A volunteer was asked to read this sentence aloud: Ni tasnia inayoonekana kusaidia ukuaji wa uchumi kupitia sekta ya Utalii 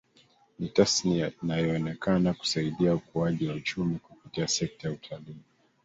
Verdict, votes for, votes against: rejected, 2, 3